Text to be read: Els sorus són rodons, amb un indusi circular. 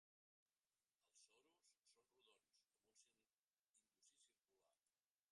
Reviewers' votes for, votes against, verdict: 0, 2, rejected